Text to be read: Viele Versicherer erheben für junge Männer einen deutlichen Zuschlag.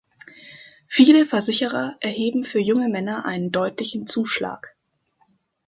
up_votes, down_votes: 2, 0